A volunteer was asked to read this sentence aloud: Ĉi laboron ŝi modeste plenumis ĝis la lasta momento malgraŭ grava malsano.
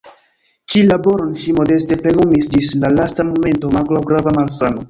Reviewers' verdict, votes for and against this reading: rejected, 1, 2